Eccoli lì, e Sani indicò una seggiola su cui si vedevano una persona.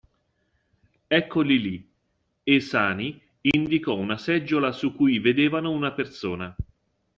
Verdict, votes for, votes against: accepted, 2, 1